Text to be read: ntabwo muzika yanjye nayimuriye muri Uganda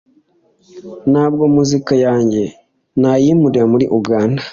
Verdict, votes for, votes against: rejected, 1, 2